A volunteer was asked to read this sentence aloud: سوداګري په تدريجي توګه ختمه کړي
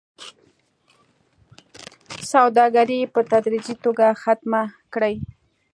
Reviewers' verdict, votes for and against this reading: accepted, 2, 0